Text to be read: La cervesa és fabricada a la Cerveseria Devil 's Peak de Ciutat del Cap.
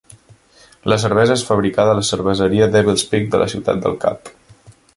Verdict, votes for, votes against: rejected, 1, 2